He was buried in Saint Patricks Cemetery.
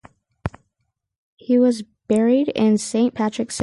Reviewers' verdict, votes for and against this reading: rejected, 0, 4